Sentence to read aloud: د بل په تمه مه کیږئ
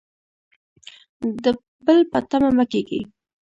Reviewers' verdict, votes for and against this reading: rejected, 1, 2